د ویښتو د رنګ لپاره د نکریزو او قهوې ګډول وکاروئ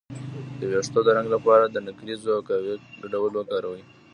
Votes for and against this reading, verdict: 2, 0, accepted